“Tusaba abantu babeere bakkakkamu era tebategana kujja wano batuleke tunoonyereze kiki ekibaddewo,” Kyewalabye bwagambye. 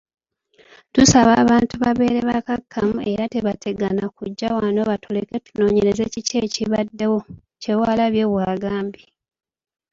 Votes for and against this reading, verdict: 1, 2, rejected